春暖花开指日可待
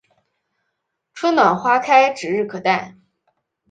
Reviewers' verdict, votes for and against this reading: accepted, 2, 0